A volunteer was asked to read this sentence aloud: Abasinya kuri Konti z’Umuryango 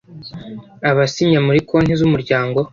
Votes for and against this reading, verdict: 0, 2, rejected